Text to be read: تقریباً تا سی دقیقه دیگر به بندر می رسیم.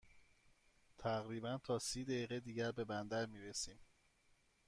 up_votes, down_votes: 2, 0